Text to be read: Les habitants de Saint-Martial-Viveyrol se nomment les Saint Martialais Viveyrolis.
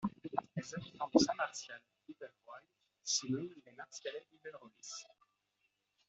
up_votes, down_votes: 0, 2